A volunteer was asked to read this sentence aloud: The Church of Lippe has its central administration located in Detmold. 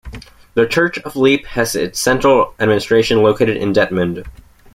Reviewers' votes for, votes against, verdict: 1, 2, rejected